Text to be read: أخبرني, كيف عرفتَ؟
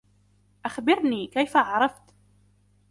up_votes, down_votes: 2, 0